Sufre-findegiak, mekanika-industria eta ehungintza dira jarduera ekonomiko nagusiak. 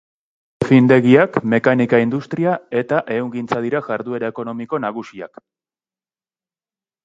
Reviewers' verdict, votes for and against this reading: rejected, 0, 2